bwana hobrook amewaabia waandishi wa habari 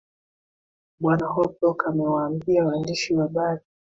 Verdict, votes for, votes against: rejected, 1, 3